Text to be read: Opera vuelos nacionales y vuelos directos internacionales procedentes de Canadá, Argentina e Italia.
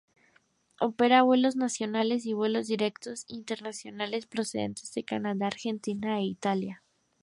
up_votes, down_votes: 4, 2